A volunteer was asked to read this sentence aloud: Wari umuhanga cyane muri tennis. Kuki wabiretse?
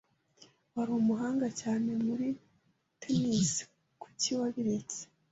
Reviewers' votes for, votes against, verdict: 2, 0, accepted